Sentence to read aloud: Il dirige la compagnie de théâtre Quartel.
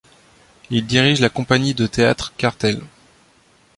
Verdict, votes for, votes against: accepted, 3, 0